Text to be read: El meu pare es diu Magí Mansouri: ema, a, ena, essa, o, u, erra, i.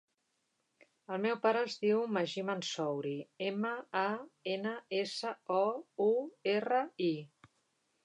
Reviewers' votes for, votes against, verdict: 6, 0, accepted